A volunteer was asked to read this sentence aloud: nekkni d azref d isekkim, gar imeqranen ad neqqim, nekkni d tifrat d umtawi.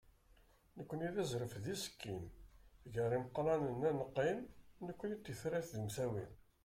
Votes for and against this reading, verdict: 2, 1, accepted